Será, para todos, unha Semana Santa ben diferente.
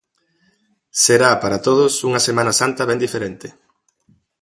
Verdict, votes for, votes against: accepted, 4, 0